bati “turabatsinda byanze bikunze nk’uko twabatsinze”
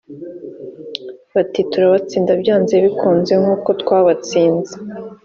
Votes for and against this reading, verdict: 2, 0, accepted